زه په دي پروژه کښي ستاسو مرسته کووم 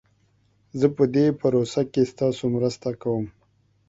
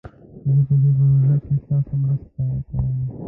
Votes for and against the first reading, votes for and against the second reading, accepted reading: 2, 1, 0, 2, first